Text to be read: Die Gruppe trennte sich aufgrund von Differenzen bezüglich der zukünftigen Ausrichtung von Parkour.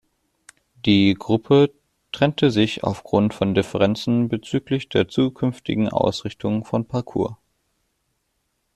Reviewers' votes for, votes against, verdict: 2, 0, accepted